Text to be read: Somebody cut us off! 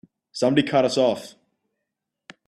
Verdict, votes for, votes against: accepted, 3, 0